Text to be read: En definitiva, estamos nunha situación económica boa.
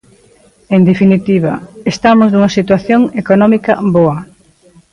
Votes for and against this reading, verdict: 1, 2, rejected